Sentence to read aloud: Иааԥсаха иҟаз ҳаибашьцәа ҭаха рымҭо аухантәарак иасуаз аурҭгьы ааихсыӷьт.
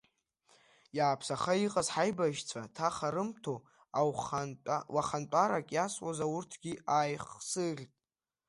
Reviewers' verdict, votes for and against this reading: rejected, 1, 2